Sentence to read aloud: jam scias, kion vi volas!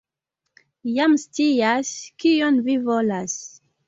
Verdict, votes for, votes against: accepted, 2, 0